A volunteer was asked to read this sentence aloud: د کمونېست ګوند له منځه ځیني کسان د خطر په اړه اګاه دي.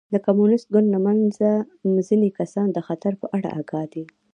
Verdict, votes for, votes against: rejected, 1, 2